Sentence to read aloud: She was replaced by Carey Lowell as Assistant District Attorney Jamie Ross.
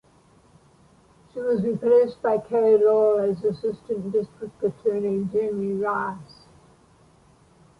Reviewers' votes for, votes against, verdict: 2, 1, accepted